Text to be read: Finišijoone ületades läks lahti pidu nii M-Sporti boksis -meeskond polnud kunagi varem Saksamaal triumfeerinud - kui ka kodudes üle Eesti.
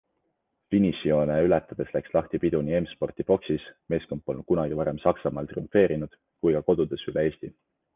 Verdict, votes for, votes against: accepted, 2, 0